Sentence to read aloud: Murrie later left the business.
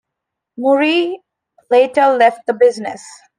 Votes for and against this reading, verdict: 2, 0, accepted